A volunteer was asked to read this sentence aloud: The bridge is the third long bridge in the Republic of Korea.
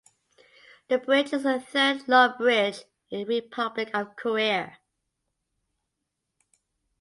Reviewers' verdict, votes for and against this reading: rejected, 0, 2